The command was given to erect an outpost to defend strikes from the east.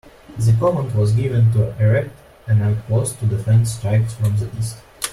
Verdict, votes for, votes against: accepted, 2, 0